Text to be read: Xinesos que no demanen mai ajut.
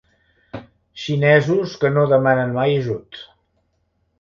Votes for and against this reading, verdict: 3, 0, accepted